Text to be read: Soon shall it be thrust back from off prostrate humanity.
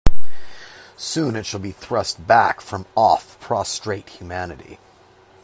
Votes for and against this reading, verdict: 0, 2, rejected